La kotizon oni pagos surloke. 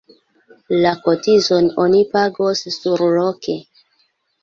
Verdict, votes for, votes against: accepted, 2, 1